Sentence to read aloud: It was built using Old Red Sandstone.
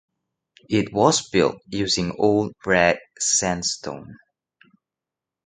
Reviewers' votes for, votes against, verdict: 2, 0, accepted